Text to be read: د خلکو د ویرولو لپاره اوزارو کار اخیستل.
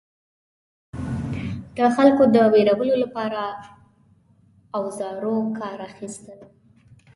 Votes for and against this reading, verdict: 2, 0, accepted